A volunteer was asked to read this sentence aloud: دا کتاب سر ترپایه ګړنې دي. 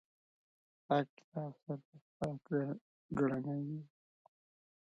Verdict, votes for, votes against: rejected, 0, 2